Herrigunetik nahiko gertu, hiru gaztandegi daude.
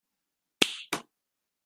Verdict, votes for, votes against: rejected, 0, 2